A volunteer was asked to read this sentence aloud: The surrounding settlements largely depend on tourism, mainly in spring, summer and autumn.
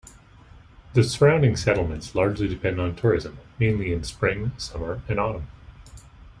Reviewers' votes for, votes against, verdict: 2, 0, accepted